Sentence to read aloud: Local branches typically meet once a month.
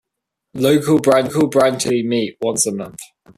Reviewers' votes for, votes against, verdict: 0, 2, rejected